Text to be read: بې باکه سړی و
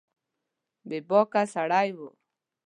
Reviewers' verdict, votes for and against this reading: accepted, 2, 0